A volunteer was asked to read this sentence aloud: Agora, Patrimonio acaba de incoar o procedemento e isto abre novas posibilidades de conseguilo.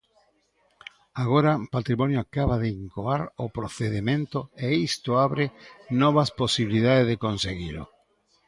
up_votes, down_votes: 0, 2